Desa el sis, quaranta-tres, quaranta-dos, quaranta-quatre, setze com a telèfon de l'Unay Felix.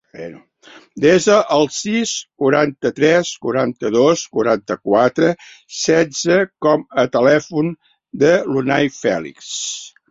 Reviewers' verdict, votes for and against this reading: rejected, 0, 2